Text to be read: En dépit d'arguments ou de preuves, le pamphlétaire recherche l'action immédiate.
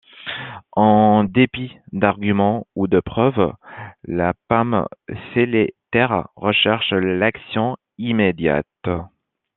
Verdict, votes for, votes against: rejected, 0, 2